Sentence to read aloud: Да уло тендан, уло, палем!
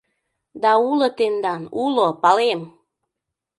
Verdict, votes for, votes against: accepted, 2, 0